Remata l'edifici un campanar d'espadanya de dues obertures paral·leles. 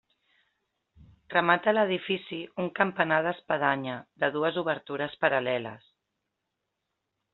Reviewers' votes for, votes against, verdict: 3, 0, accepted